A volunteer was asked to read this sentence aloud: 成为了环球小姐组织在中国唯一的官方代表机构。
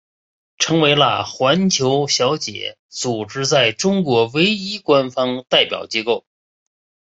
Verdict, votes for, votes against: rejected, 1, 2